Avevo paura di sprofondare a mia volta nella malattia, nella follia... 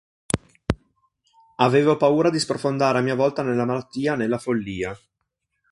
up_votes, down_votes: 3, 0